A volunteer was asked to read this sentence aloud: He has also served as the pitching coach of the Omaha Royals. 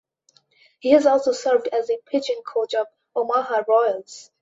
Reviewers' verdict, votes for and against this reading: rejected, 0, 2